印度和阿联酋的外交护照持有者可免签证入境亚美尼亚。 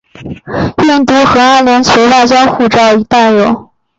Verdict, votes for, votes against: rejected, 0, 2